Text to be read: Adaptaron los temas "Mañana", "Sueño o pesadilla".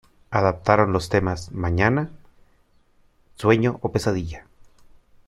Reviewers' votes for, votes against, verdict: 2, 0, accepted